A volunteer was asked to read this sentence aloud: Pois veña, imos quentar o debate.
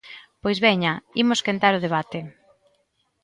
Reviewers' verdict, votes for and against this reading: accepted, 2, 0